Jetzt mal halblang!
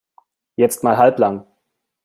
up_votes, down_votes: 2, 0